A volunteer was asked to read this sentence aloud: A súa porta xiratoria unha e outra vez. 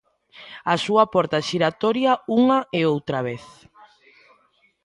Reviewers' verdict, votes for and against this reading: accepted, 2, 1